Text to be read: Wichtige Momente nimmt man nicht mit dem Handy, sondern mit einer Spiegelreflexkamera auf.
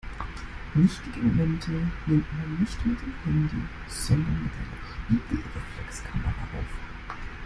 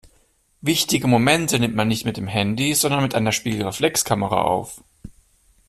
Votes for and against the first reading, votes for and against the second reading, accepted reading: 1, 2, 2, 0, second